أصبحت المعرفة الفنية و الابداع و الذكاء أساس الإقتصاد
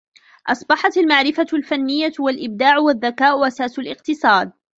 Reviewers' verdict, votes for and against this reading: rejected, 1, 2